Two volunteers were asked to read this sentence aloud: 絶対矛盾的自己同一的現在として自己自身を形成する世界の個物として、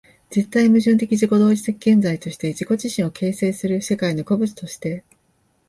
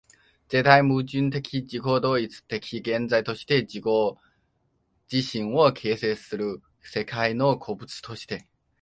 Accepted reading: first